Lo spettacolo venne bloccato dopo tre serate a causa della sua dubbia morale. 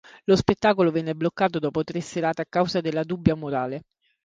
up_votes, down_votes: 0, 2